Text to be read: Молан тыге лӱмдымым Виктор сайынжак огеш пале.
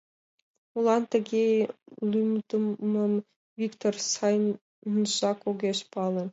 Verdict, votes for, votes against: accepted, 2, 0